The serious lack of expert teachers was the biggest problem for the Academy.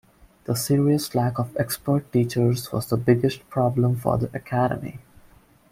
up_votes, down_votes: 2, 0